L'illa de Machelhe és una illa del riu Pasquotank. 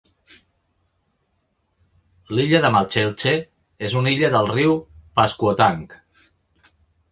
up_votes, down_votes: 0, 2